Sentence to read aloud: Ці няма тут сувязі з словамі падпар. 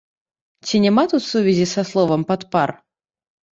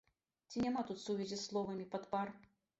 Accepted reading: second